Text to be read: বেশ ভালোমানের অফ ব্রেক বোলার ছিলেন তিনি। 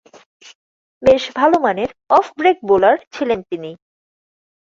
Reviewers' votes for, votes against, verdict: 2, 0, accepted